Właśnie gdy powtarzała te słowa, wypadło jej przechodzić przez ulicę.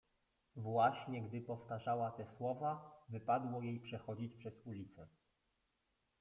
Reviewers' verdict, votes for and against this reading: rejected, 1, 2